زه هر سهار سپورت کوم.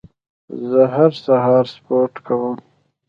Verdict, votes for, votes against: rejected, 1, 2